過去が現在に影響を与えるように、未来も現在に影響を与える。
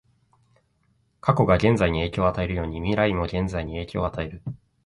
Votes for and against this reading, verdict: 2, 0, accepted